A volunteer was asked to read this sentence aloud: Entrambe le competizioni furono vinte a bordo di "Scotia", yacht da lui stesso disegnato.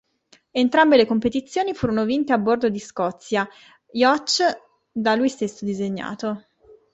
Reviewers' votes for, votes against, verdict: 1, 2, rejected